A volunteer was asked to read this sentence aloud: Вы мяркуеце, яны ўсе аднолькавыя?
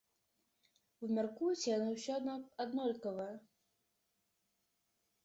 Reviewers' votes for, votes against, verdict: 0, 2, rejected